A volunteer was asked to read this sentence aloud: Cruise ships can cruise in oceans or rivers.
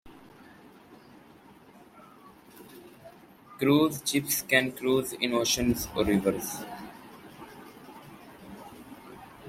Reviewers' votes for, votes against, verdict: 0, 2, rejected